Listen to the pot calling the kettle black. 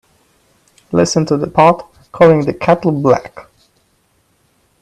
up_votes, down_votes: 3, 0